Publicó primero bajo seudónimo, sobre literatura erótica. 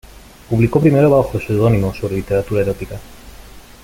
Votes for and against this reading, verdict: 2, 0, accepted